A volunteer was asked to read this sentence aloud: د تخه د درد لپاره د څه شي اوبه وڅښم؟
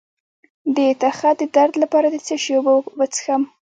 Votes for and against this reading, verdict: 2, 0, accepted